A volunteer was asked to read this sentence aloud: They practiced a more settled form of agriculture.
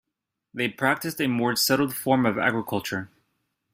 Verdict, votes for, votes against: rejected, 0, 2